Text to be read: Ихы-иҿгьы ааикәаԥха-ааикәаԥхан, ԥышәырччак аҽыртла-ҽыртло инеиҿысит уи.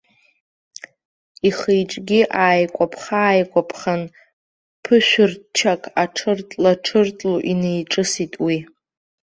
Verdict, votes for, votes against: rejected, 1, 2